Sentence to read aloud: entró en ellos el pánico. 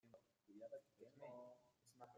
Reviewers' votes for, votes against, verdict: 0, 2, rejected